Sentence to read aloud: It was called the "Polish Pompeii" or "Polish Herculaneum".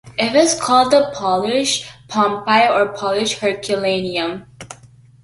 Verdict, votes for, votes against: accepted, 2, 0